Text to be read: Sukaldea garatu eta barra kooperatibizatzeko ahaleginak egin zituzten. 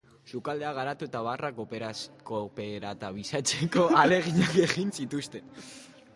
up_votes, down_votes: 0, 2